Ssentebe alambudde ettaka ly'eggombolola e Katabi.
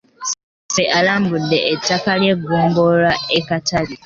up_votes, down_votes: 1, 2